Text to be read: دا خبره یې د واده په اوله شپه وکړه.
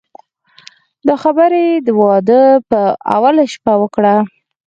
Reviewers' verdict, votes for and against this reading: accepted, 4, 0